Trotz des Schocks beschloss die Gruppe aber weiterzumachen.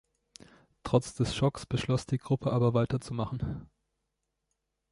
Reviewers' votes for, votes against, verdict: 2, 0, accepted